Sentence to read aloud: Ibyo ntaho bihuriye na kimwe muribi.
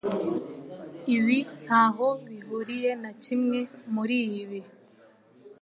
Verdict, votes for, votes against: rejected, 0, 2